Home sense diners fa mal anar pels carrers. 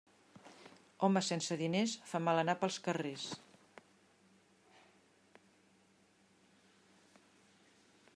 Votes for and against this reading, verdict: 3, 0, accepted